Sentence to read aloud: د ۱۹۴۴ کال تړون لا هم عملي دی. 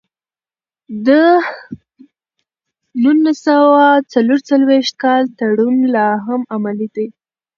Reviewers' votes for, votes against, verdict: 0, 2, rejected